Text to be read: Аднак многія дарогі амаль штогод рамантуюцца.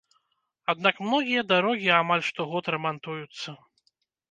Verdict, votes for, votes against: accepted, 2, 0